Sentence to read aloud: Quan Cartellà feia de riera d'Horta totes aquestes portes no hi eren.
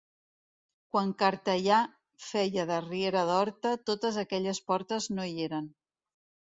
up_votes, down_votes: 0, 2